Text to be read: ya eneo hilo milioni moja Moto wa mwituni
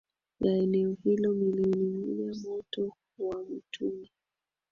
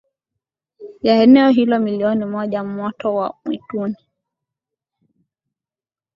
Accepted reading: second